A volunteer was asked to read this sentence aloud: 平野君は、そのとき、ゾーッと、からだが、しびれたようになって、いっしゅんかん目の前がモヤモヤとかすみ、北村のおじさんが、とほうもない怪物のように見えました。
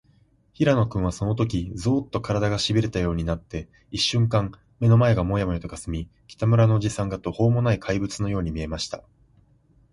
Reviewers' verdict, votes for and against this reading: rejected, 0, 2